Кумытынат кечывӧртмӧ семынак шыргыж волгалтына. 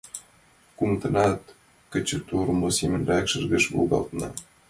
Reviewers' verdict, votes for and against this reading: accepted, 2, 0